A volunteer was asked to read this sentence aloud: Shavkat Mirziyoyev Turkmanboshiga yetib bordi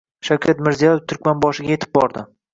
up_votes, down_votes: 2, 0